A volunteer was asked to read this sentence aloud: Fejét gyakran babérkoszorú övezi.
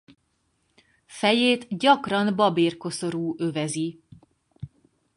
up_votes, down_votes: 4, 0